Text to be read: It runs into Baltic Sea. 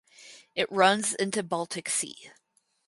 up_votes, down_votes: 4, 0